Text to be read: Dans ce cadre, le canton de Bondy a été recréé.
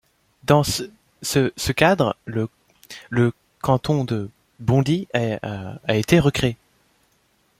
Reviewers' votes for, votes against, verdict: 0, 2, rejected